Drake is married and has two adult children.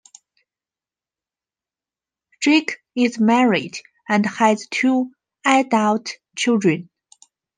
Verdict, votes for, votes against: accepted, 2, 1